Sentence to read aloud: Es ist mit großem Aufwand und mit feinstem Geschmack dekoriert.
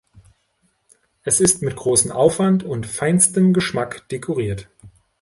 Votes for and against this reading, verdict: 0, 3, rejected